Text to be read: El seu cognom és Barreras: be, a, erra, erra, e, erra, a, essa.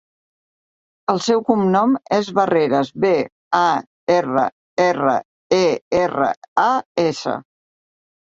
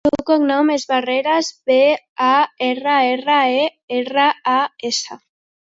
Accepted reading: first